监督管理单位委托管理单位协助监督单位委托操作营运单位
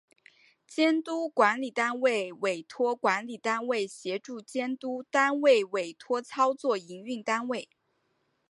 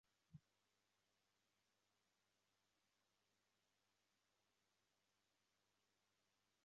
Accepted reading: first